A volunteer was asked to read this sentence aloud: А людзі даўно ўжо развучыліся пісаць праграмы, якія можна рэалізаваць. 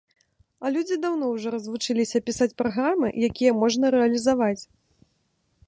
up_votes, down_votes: 2, 0